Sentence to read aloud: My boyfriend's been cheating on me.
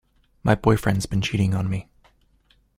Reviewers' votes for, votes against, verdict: 2, 0, accepted